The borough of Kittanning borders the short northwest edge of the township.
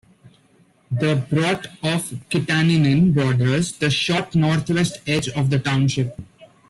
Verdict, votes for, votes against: accepted, 2, 1